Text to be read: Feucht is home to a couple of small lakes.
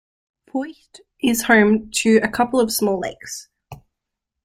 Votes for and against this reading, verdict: 2, 0, accepted